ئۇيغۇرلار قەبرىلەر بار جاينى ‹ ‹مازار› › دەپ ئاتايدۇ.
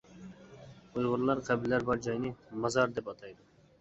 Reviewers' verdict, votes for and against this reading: rejected, 1, 2